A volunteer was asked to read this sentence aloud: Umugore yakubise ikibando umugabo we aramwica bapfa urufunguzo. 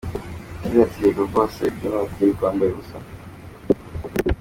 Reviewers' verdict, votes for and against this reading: rejected, 0, 2